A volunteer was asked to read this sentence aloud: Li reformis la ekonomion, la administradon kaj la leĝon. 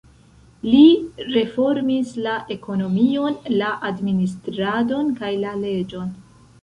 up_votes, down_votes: 1, 2